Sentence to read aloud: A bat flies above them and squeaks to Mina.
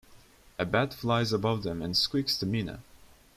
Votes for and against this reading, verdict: 2, 0, accepted